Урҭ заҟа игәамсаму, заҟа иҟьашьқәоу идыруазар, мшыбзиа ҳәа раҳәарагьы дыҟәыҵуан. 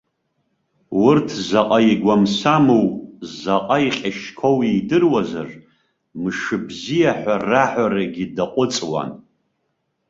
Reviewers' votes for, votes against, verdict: 2, 0, accepted